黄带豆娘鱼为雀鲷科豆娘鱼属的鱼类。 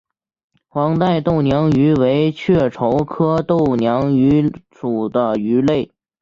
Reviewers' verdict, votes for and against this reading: accepted, 2, 1